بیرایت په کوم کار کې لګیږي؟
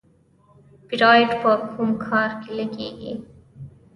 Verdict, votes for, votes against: accepted, 3, 1